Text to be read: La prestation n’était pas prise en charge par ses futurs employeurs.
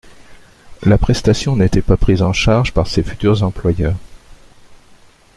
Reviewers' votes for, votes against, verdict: 2, 0, accepted